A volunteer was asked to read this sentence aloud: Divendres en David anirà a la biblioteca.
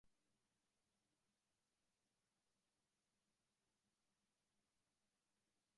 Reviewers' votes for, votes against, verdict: 0, 2, rejected